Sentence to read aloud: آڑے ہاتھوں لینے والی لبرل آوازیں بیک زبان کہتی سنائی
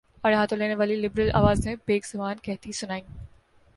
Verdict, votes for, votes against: accepted, 3, 2